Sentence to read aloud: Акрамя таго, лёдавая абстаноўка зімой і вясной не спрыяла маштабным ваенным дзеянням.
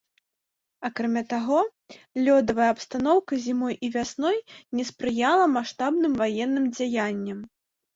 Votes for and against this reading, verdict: 0, 3, rejected